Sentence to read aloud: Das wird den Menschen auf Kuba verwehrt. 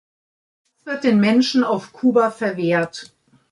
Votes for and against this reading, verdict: 0, 2, rejected